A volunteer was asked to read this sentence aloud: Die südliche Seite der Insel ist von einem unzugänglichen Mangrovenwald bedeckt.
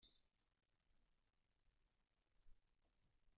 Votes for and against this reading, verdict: 0, 2, rejected